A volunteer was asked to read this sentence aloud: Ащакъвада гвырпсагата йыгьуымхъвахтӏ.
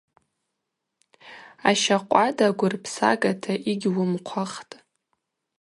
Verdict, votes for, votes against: accepted, 4, 0